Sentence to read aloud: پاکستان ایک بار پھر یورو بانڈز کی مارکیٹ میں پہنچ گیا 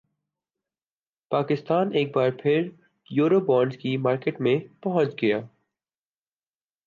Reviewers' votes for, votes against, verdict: 1, 2, rejected